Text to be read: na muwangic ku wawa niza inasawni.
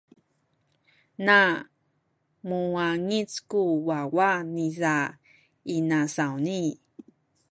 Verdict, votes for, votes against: accepted, 2, 1